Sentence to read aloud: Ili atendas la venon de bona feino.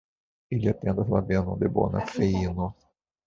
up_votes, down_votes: 1, 2